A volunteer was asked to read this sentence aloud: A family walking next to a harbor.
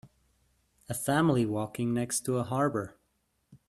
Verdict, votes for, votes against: accepted, 2, 0